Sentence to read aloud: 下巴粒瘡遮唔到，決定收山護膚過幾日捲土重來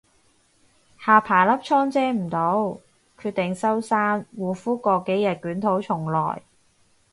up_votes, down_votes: 4, 0